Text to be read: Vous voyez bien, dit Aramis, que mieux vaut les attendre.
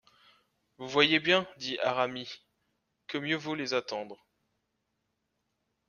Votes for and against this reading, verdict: 0, 2, rejected